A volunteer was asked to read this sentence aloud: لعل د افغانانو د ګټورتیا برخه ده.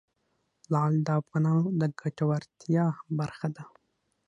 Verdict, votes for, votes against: accepted, 6, 0